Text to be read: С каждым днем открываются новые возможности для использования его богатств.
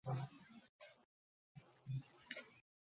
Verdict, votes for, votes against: rejected, 0, 2